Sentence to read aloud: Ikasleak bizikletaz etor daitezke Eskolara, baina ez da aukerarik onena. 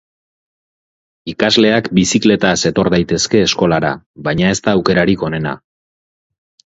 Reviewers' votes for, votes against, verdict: 0, 2, rejected